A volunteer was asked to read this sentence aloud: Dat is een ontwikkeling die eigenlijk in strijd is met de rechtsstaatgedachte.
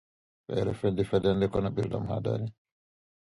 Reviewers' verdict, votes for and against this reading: rejected, 0, 2